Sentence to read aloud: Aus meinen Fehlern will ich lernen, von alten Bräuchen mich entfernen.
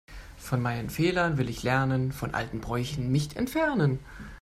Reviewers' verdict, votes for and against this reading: rejected, 0, 2